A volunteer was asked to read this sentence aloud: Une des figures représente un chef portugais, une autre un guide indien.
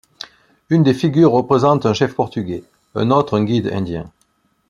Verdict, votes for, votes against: rejected, 1, 2